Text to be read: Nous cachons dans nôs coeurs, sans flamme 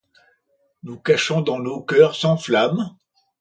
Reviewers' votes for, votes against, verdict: 2, 0, accepted